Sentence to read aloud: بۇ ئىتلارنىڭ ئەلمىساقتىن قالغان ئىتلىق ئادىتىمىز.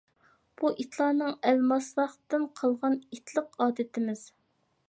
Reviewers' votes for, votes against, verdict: 1, 2, rejected